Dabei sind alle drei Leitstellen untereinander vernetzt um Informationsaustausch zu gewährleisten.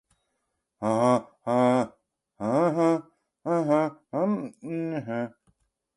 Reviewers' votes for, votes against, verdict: 0, 2, rejected